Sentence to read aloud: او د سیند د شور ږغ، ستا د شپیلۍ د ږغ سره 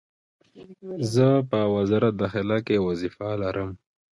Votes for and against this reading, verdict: 2, 1, accepted